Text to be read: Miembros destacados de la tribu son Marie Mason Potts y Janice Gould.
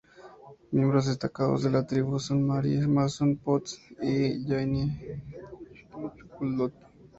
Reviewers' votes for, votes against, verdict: 0, 2, rejected